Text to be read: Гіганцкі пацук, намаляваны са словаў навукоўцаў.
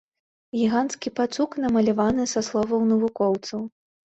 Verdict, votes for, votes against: accepted, 2, 0